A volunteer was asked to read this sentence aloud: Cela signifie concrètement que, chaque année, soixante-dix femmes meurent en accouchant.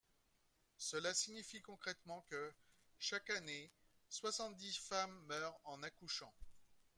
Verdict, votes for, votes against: accepted, 2, 0